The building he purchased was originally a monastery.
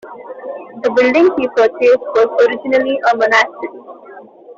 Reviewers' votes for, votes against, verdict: 1, 2, rejected